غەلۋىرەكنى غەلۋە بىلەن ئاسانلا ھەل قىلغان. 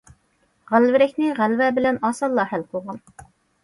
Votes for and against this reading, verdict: 2, 0, accepted